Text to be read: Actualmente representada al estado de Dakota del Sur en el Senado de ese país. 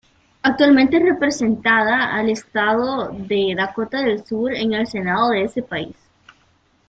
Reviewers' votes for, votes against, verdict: 0, 2, rejected